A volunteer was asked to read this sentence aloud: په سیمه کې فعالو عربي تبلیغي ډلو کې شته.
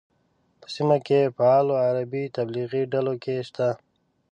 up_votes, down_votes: 2, 0